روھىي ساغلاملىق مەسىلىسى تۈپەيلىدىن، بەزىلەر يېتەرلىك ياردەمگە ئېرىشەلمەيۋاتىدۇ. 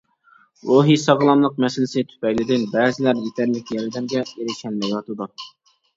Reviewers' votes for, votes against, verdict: 2, 1, accepted